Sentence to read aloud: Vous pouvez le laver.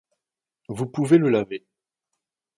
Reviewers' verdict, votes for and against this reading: accepted, 2, 0